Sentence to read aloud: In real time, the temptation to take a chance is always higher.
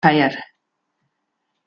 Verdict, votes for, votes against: rejected, 0, 2